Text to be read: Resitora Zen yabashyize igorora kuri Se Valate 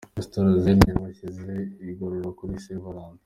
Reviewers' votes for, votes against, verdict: 2, 1, accepted